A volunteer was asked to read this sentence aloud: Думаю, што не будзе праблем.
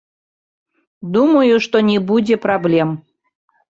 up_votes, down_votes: 1, 2